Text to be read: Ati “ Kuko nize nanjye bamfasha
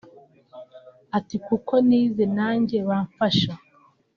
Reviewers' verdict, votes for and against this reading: rejected, 1, 2